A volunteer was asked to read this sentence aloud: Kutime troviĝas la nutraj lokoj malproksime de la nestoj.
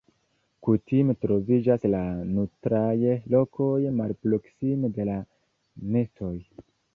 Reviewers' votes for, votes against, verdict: 2, 0, accepted